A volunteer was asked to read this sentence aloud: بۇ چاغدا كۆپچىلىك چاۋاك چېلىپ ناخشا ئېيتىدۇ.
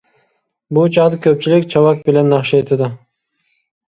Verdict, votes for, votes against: rejected, 0, 2